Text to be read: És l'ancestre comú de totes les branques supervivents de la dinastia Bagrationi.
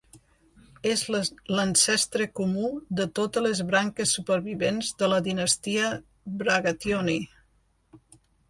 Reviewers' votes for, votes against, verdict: 1, 2, rejected